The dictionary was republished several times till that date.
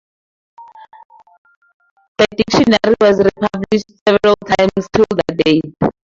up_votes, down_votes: 0, 2